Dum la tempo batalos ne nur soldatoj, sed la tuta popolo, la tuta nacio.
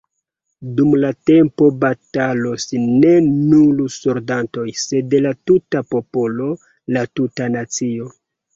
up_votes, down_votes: 0, 2